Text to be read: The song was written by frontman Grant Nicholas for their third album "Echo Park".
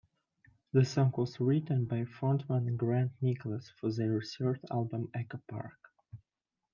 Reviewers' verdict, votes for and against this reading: accepted, 2, 0